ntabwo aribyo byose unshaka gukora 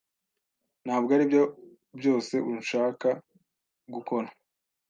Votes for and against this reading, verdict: 2, 0, accepted